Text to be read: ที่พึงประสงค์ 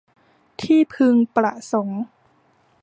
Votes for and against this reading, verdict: 2, 0, accepted